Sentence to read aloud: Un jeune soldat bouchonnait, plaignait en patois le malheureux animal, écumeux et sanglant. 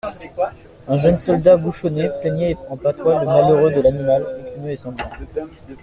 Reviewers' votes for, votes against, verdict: 1, 2, rejected